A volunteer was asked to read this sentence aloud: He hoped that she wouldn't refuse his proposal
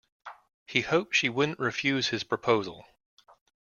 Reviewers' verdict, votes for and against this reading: rejected, 0, 2